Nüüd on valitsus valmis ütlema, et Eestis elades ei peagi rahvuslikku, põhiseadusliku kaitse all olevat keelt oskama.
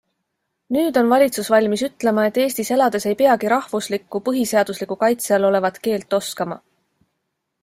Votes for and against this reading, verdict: 2, 0, accepted